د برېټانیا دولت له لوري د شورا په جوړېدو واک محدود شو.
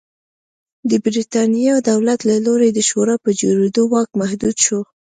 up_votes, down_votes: 2, 0